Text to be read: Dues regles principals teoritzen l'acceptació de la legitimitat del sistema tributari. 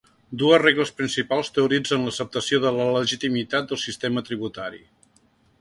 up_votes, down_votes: 2, 0